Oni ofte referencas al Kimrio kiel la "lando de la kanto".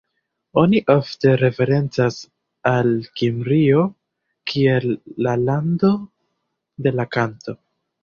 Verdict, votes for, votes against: accepted, 2, 0